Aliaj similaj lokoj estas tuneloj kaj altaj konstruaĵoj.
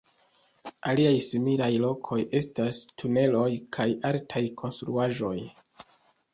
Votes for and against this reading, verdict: 2, 0, accepted